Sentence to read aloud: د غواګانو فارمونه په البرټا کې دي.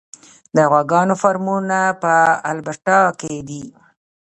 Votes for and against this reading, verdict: 1, 3, rejected